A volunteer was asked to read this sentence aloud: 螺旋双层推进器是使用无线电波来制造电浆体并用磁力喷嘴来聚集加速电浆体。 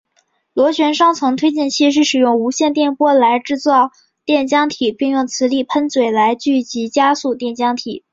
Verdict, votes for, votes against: accepted, 6, 0